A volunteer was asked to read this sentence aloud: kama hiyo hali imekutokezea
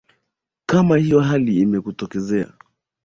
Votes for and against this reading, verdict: 4, 0, accepted